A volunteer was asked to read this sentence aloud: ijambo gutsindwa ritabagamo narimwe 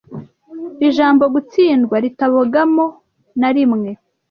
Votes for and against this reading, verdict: 1, 2, rejected